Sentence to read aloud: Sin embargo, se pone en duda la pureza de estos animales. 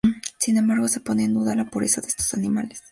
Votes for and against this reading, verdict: 2, 0, accepted